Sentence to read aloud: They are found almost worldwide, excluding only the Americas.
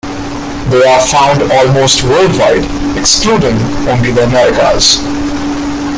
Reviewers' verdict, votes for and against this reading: rejected, 0, 2